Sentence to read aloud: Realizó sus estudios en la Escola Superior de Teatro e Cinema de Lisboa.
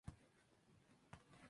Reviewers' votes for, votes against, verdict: 0, 2, rejected